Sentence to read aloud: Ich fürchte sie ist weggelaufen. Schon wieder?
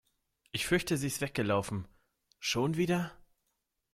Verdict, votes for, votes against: accepted, 2, 0